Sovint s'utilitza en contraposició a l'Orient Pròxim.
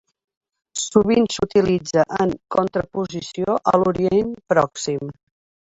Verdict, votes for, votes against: accepted, 3, 0